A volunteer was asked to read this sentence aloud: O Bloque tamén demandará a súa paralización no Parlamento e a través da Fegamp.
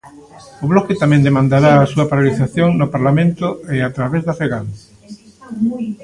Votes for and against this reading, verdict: 0, 2, rejected